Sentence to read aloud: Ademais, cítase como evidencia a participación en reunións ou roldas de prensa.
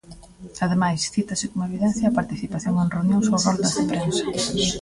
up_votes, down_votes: 0, 2